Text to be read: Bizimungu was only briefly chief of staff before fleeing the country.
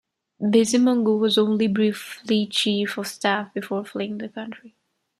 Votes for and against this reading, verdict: 2, 0, accepted